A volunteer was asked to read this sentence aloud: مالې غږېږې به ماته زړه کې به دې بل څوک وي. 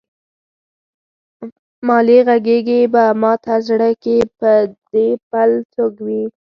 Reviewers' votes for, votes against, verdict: 2, 4, rejected